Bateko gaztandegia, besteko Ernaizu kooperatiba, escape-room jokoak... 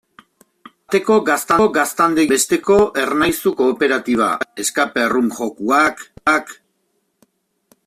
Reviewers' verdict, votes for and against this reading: rejected, 0, 2